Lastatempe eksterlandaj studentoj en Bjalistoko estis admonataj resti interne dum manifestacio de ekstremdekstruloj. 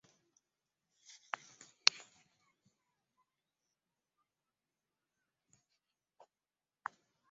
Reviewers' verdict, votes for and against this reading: rejected, 0, 2